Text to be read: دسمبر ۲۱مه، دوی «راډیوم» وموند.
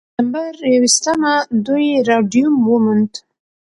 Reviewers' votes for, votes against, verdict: 0, 2, rejected